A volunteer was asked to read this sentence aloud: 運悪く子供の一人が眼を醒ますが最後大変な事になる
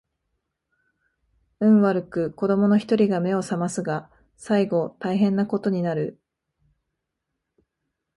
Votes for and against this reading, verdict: 2, 0, accepted